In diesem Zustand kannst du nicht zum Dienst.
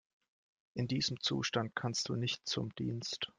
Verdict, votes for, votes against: accepted, 2, 1